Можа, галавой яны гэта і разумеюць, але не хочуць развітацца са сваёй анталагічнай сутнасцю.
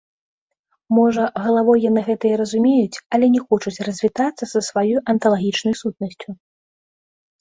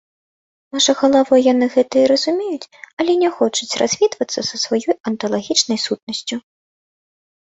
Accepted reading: first